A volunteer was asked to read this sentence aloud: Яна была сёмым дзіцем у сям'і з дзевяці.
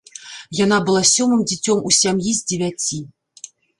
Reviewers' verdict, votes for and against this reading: accepted, 2, 0